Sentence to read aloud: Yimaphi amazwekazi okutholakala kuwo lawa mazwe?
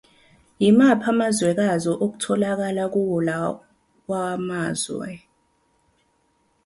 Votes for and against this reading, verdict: 2, 0, accepted